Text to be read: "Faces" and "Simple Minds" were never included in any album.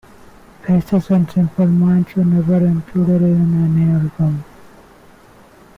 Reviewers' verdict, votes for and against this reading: rejected, 0, 2